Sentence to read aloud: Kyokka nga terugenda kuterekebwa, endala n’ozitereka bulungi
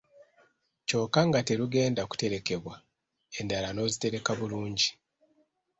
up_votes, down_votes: 2, 0